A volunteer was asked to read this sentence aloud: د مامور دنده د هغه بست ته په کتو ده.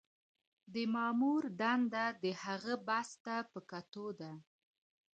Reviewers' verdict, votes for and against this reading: accepted, 2, 0